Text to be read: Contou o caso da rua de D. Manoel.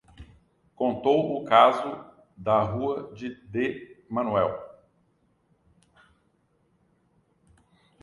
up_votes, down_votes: 0, 2